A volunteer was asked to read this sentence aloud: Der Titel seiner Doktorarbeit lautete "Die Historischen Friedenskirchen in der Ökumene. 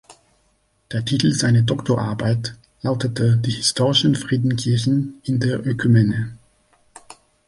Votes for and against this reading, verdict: 1, 2, rejected